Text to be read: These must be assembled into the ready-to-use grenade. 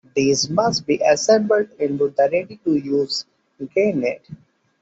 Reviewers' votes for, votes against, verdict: 2, 0, accepted